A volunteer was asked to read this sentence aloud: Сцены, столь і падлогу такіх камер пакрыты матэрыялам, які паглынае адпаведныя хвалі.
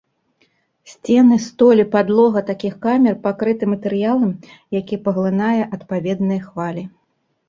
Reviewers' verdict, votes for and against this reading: accepted, 2, 0